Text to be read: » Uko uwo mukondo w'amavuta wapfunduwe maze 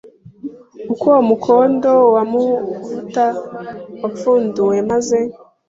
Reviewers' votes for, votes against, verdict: 0, 2, rejected